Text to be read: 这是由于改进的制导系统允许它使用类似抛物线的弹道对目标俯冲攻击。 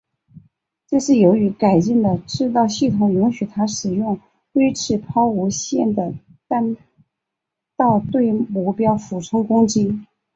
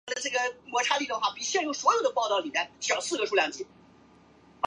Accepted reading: first